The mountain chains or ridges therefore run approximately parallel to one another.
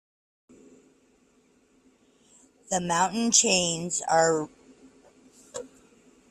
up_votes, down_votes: 0, 2